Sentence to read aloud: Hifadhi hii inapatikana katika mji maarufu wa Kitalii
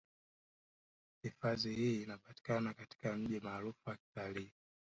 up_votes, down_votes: 1, 3